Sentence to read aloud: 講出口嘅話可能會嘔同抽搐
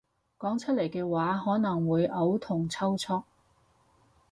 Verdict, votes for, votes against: rejected, 0, 4